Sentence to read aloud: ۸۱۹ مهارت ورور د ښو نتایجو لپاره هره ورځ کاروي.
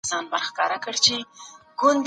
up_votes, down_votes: 0, 2